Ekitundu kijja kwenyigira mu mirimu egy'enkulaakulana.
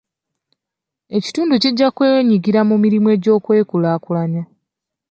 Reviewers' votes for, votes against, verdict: 1, 2, rejected